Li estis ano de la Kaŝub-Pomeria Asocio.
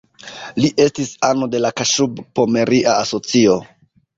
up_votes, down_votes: 1, 2